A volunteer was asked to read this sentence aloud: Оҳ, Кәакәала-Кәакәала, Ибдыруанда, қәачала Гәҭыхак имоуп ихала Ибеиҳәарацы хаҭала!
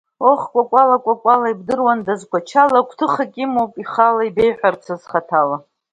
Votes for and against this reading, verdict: 2, 0, accepted